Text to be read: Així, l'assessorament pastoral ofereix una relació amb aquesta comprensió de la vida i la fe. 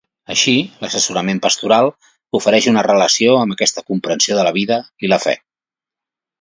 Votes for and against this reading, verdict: 2, 0, accepted